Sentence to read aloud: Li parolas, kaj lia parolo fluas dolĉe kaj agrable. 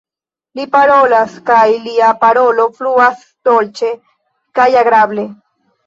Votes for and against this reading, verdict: 2, 0, accepted